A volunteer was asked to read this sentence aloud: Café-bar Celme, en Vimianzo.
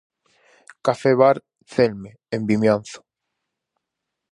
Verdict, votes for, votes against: accepted, 4, 0